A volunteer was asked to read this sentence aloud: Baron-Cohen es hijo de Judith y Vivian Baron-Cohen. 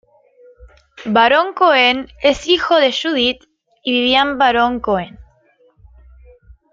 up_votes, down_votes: 0, 2